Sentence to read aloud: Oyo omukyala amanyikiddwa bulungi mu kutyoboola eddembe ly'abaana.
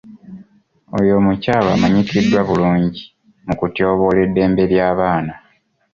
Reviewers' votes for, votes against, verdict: 2, 1, accepted